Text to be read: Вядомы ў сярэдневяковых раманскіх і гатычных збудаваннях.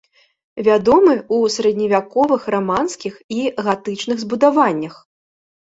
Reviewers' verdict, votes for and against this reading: rejected, 0, 2